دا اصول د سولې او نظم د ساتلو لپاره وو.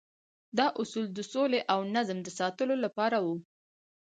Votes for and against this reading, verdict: 2, 0, accepted